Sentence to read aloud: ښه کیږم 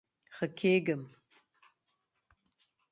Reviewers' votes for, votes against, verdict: 2, 0, accepted